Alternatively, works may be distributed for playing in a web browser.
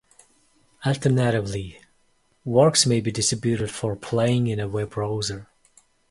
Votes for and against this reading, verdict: 2, 0, accepted